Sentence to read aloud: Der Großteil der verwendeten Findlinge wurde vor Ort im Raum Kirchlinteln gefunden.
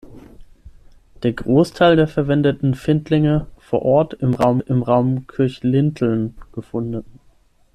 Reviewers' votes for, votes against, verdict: 0, 6, rejected